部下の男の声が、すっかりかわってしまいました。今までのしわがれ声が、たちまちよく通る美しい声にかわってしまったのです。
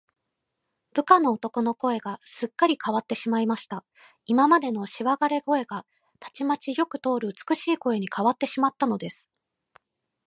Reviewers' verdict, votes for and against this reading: accepted, 3, 0